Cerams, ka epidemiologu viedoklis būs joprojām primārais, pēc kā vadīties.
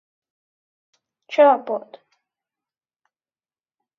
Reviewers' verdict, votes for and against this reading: rejected, 0, 2